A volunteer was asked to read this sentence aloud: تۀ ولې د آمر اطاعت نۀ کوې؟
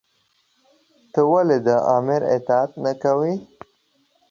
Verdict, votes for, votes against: accepted, 2, 0